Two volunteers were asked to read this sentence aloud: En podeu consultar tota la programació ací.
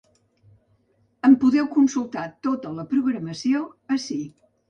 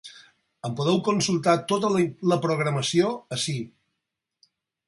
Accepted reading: first